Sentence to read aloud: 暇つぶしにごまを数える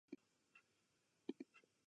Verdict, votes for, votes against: rejected, 1, 2